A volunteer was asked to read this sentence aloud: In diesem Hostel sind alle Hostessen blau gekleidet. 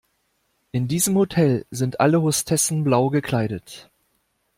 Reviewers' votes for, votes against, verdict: 1, 2, rejected